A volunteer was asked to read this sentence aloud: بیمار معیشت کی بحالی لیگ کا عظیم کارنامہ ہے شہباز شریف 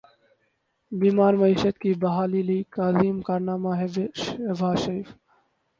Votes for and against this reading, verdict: 4, 8, rejected